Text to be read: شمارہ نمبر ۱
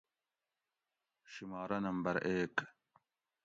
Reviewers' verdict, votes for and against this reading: rejected, 0, 2